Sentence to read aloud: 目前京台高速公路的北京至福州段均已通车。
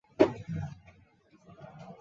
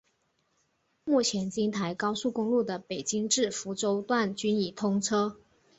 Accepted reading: second